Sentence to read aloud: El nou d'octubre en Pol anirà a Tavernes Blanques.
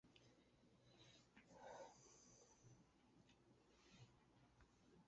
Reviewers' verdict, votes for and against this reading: rejected, 0, 2